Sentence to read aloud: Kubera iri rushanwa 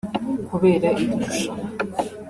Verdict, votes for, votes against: accepted, 2, 1